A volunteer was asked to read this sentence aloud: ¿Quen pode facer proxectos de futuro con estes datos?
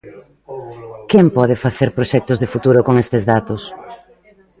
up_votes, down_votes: 2, 1